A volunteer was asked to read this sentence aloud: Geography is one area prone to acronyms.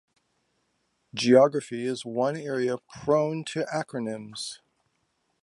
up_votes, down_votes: 2, 0